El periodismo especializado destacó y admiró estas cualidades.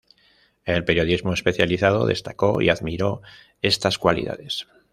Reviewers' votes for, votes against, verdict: 2, 0, accepted